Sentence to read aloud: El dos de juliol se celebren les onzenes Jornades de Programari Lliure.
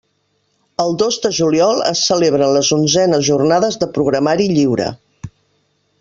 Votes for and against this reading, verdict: 1, 3, rejected